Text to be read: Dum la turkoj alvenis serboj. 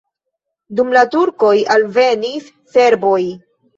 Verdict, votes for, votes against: accepted, 2, 1